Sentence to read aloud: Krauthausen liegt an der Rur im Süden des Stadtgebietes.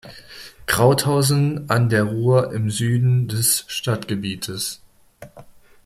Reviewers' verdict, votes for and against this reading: rejected, 0, 2